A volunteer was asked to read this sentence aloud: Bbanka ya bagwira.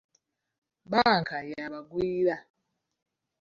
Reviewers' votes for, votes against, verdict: 2, 0, accepted